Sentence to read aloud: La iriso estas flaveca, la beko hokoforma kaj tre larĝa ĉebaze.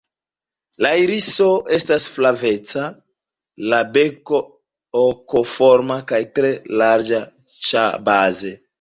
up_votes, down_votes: 2, 1